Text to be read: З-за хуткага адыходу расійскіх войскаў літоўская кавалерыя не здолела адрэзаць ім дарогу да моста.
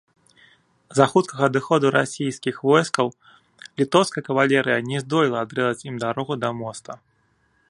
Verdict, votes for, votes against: accepted, 2, 0